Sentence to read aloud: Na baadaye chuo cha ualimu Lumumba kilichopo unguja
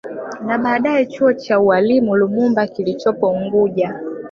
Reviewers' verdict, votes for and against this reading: accepted, 3, 0